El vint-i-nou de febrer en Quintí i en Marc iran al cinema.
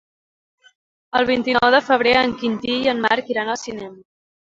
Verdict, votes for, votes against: accepted, 3, 1